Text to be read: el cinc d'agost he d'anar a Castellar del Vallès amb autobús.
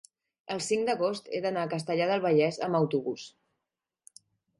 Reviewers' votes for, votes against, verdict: 3, 0, accepted